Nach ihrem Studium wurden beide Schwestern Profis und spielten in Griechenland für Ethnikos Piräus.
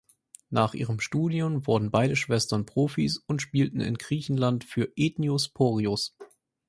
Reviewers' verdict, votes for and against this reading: rejected, 0, 4